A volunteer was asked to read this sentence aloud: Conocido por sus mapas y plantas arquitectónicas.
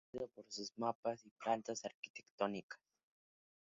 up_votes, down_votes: 0, 2